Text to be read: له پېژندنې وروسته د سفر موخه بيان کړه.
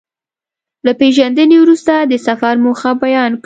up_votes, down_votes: 2, 0